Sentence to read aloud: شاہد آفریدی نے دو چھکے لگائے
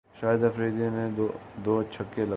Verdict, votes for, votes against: rejected, 1, 2